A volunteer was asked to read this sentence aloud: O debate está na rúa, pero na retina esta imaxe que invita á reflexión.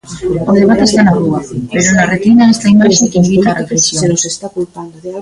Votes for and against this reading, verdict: 0, 2, rejected